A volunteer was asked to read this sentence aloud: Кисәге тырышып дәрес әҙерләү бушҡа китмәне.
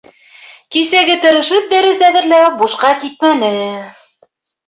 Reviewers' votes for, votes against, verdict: 1, 2, rejected